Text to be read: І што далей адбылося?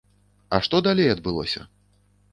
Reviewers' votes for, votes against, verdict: 1, 2, rejected